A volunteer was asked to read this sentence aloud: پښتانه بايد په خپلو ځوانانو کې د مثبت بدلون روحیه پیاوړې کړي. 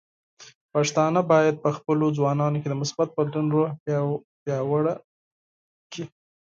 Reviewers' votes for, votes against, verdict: 2, 4, rejected